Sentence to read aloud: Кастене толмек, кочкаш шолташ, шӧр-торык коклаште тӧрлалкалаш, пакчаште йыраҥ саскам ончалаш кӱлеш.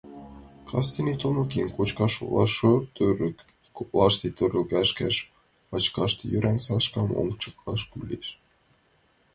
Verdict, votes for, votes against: rejected, 0, 3